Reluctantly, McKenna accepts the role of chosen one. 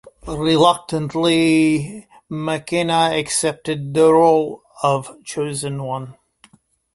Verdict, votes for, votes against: rejected, 0, 2